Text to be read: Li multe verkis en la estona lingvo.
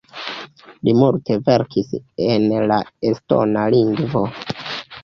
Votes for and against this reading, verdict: 0, 2, rejected